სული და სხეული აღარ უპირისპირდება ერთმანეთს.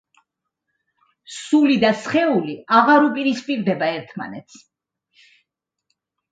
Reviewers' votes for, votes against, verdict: 3, 0, accepted